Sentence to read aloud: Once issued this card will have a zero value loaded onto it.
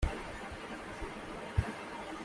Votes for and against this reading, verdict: 0, 2, rejected